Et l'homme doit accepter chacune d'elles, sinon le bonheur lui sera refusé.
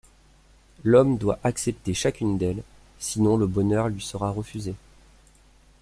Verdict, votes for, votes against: rejected, 0, 2